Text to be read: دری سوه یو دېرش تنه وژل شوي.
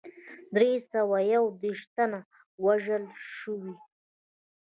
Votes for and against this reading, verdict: 2, 0, accepted